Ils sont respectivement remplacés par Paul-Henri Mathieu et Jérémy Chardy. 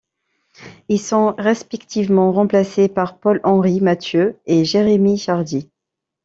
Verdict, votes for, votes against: rejected, 1, 2